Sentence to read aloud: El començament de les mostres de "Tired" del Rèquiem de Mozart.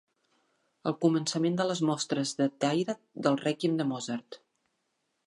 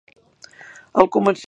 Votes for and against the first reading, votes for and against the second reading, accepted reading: 2, 0, 0, 2, first